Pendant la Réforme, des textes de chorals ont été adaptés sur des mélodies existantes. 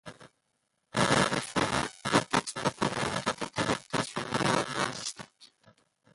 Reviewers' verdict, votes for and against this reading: rejected, 0, 2